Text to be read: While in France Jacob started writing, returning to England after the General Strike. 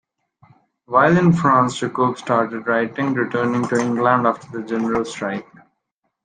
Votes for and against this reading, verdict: 1, 2, rejected